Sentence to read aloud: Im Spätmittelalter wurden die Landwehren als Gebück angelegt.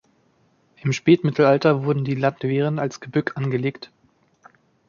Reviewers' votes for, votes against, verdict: 0, 2, rejected